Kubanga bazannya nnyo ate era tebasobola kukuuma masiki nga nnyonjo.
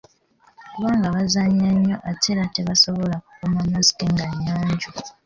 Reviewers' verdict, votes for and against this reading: accepted, 2, 1